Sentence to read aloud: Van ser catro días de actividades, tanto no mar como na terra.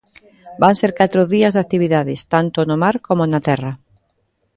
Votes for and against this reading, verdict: 2, 0, accepted